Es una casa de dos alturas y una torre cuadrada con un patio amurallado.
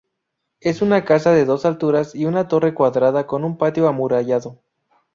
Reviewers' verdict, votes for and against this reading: accepted, 4, 0